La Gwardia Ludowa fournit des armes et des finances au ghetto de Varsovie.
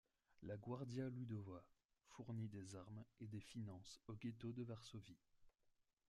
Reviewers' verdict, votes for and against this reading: rejected, 1, 2